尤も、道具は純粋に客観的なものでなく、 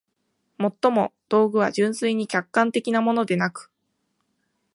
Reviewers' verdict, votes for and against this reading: accepted, 2, 0